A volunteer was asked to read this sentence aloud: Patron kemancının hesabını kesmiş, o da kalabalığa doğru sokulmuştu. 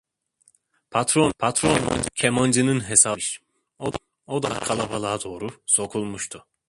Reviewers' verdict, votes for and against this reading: rejected, 0, 2